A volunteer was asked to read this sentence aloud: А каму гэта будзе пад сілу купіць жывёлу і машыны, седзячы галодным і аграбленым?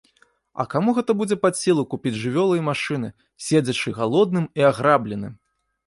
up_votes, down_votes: 2, 0